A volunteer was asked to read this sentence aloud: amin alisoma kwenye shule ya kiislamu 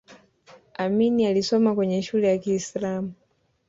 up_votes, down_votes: 1, 2